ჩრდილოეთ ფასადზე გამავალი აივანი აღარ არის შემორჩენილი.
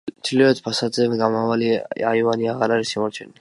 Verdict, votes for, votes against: rejected, 0, 2